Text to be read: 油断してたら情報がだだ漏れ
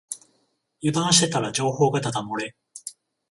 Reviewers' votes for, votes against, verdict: 14, 0, accepted